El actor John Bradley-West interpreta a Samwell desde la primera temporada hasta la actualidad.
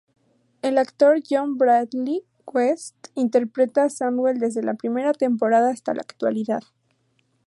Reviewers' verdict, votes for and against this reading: rejected, 2, 2